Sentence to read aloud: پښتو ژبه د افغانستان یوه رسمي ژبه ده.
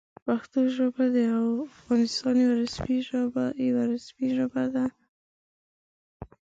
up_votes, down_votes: 1, 2